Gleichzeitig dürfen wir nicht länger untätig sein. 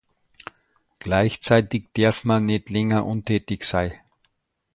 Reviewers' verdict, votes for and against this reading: rejected, 0, 2